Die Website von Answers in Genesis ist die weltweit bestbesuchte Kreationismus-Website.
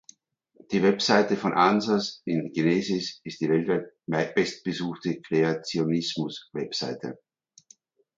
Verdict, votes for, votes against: rejected, 1, 2